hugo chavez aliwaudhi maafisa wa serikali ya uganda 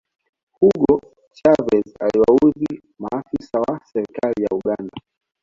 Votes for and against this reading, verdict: 2, 0, accepted